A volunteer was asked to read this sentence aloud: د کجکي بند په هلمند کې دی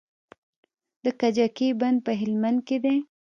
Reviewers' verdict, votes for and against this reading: accepted, 2, 0